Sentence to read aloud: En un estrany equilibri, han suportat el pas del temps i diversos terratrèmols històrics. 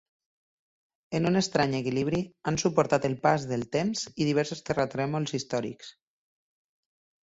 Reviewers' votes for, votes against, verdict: 2, 0, accepted